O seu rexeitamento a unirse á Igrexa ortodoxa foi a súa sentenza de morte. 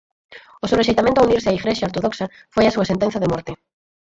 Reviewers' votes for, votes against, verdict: 0, 4, rejected